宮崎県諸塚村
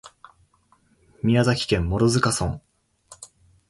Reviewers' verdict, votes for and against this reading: accepted, 3, 1